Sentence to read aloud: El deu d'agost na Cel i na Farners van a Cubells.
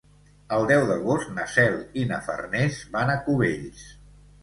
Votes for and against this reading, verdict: 2, 0, accepted